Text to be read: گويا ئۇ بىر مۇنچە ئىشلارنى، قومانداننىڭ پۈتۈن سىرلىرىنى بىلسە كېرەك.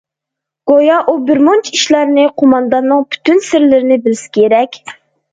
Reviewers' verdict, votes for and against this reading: accepted, 2, 0